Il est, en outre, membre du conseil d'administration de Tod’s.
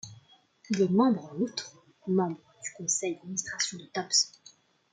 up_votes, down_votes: 0, 2